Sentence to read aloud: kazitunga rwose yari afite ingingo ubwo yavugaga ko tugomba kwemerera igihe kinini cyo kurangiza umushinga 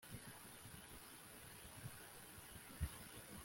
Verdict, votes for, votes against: rejected, 1, 2